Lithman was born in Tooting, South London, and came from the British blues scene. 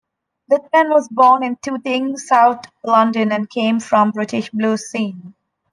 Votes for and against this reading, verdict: 1, 2, rejected